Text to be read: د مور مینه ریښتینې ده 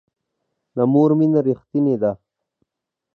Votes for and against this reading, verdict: 2, 0, accepted